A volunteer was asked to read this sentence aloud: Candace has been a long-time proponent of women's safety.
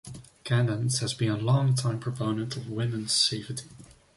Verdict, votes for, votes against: rejected, 1, 2